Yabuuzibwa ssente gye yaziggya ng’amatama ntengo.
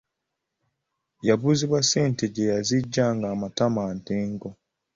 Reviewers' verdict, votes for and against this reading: accepted, 2, 0